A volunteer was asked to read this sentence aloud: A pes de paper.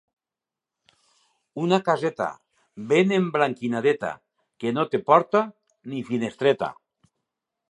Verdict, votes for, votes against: rejected, 0, 2